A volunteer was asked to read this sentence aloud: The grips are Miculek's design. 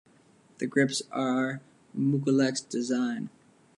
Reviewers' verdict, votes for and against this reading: accepted, 2, 0